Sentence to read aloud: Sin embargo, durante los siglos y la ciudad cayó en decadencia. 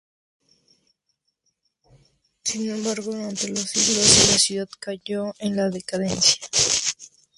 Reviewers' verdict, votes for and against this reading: rejected, 0, 2